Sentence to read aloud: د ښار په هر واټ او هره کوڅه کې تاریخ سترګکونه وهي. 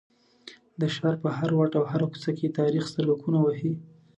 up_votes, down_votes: 2, 0